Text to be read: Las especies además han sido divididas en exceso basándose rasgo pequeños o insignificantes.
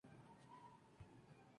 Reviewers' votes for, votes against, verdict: 0, 2, rejected